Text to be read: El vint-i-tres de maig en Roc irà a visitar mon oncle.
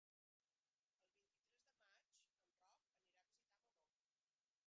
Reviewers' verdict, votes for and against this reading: rejected, 0, 3